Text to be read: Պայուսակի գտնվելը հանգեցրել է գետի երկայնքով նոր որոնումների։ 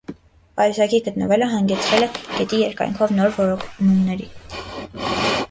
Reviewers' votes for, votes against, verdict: 1, 2, rejected